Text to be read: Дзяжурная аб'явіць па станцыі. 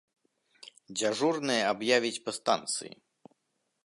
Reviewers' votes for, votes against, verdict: 3, 0, accepted